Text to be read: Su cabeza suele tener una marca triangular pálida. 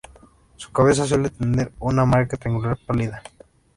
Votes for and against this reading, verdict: 1, 2, rejected